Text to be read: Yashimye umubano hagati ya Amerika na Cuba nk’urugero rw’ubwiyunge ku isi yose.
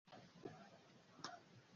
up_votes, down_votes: 1, 2